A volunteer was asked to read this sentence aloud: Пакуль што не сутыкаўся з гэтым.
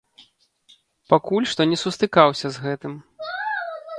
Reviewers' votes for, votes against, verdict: 0, 2, rejected